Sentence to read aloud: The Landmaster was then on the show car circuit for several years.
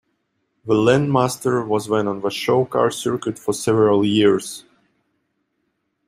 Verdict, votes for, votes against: accepted, 2, 0